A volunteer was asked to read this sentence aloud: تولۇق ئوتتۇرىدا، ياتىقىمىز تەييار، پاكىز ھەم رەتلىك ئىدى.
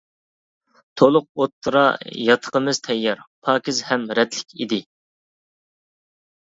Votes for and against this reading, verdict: 0, 2, rejected